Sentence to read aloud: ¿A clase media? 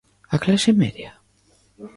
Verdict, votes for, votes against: accepted, 2, 0